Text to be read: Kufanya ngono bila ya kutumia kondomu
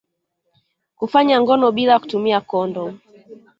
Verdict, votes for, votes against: accepted, 2, 0